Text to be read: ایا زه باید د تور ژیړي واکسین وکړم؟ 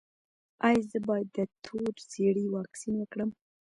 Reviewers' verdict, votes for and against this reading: rejected, 1, 2